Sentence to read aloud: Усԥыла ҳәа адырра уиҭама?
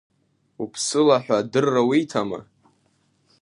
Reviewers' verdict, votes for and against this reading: rejected, 0, 2